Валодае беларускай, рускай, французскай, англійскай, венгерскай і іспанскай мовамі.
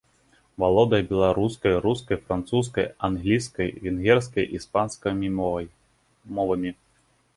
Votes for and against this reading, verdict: 1, 2, rejected